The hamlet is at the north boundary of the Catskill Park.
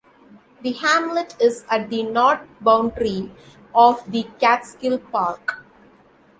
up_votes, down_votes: 2, 0